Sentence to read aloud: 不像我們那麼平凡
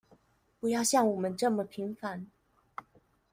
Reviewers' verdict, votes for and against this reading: rejected, 1, 2